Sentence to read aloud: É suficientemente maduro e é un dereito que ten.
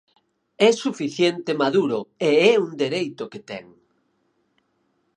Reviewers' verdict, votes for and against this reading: rejected, 0, 4